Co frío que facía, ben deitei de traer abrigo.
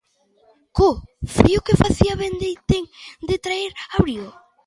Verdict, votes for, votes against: accepted, 2, 0